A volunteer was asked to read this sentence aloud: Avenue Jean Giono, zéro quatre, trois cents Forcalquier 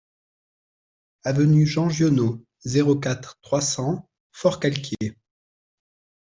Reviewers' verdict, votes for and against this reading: accepted, 2, 0